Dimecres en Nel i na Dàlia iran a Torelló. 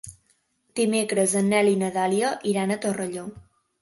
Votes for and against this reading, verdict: 1, 2, rejected